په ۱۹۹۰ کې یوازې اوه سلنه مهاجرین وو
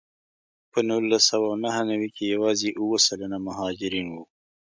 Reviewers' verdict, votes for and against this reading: rejected, 0, 2